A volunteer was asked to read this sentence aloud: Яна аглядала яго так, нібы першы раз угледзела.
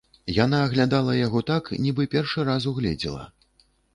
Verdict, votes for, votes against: accepted, 2, 0